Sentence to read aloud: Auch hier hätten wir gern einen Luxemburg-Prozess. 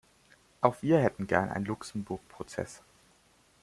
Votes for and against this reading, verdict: 1, 2, rejected